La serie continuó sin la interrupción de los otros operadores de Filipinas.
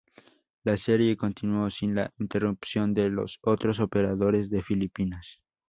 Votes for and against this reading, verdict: 2, 0, accepted